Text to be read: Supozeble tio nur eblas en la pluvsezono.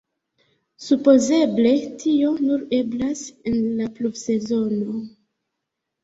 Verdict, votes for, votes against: rejected, 0, 2